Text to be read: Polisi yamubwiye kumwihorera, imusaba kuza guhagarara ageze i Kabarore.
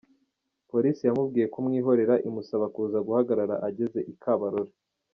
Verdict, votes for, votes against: accepted, 2, 0